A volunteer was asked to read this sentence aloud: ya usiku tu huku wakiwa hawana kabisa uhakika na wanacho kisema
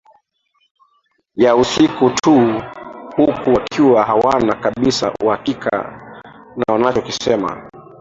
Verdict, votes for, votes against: rejected, 0, 2